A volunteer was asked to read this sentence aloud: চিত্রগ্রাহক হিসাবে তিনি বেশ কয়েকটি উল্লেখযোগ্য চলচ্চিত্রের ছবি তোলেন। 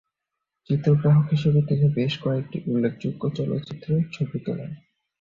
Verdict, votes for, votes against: rejected, 0, 2